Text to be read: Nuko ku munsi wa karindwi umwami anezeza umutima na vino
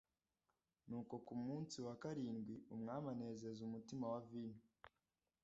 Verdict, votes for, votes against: rejected, 1, 2